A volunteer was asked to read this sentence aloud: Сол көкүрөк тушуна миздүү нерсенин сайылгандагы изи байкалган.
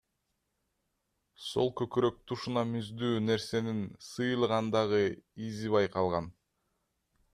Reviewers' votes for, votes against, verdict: 0, 2, rejected